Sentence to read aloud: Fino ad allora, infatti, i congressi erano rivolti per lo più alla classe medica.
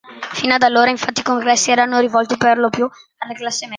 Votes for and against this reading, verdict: 0, 2, rejected